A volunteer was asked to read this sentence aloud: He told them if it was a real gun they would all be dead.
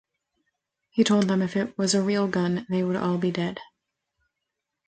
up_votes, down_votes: 3, 0